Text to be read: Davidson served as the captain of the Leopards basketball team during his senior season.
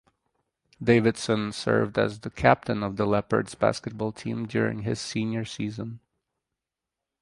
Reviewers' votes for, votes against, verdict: 4, 0, accepted